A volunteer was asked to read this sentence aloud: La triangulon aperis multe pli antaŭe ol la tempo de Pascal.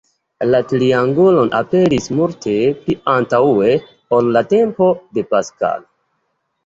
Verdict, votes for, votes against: accepted, 2, 0